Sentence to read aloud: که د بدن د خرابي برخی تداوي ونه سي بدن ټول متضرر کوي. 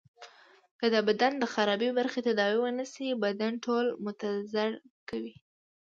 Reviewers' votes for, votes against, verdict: 2, 0, accepted